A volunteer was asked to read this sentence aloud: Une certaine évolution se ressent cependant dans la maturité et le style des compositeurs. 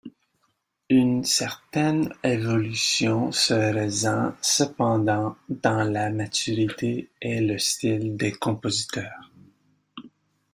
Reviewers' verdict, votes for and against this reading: accepted, 2, 0